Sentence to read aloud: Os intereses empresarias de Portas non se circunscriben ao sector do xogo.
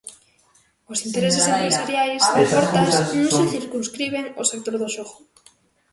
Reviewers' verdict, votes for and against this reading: rejected, 0, 2